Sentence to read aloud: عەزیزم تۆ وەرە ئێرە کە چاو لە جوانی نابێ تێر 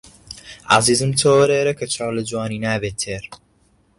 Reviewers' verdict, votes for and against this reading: accepted, 2, 0